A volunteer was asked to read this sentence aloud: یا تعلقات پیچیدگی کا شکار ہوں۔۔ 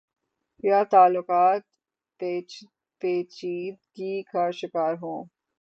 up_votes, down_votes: 3, 0